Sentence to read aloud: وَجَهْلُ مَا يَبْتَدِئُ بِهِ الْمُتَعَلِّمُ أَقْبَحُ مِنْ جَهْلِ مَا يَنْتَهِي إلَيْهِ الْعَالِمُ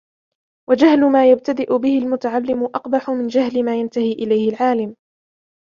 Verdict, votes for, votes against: accepted, 2, 0